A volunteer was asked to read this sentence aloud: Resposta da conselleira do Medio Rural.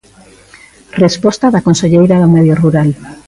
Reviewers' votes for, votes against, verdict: 1, 2, rejected